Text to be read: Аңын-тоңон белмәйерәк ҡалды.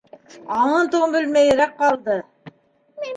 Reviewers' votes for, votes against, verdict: 2, 0, accepted